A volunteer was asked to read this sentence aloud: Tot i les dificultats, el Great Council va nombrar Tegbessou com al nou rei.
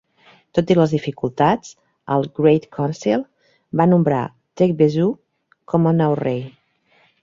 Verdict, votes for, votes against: accepted, 2, 0